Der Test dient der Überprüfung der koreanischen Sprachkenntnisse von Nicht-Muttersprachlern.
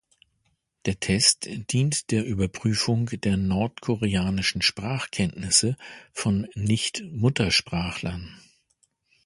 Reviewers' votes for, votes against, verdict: 0, 2, rejected